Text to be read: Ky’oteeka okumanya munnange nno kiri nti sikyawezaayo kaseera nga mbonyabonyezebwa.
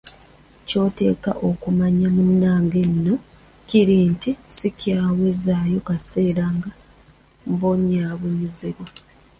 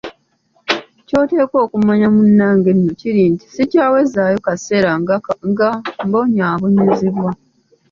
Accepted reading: second